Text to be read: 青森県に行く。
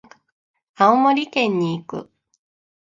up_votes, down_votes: 1, 2